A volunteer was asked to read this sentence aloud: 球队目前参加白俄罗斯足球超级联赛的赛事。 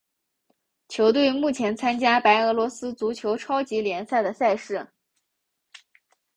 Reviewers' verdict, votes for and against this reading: accepted, 2, 0